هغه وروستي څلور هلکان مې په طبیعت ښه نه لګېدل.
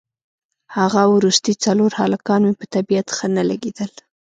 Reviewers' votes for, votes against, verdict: 2, 0, accepted